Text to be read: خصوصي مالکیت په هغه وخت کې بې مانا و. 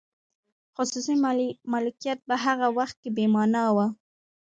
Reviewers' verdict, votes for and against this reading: accepted, 2, 0